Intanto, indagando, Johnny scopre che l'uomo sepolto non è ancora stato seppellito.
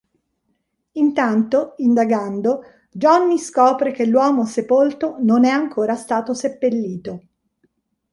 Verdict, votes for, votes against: accepted, 2, 0